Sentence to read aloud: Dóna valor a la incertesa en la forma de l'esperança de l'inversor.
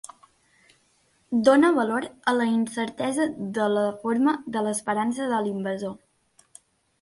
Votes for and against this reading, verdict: 0, 2, rejected